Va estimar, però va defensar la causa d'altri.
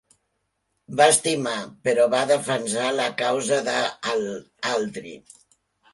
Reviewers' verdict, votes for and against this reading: rejected, 0, 3